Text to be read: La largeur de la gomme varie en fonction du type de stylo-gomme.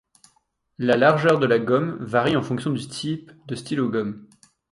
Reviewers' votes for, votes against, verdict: 0, 2, rejected